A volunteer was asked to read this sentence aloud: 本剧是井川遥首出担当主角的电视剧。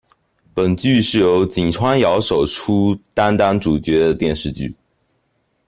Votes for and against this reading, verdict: 0, 2, rejected